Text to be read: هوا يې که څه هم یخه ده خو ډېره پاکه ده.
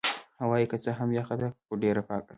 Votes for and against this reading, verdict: 1, 2, rejected